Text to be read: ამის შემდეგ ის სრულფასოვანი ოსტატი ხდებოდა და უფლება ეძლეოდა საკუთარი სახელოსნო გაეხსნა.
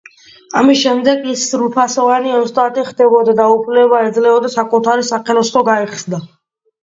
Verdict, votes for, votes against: accepted, 2, 0